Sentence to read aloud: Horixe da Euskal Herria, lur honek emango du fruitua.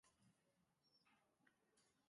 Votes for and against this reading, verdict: 0, 2, rejected